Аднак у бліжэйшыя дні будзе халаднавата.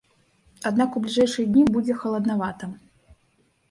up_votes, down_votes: 2, 0